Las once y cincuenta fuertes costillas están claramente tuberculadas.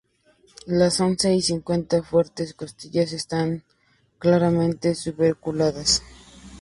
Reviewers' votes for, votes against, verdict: 0, 2, rejected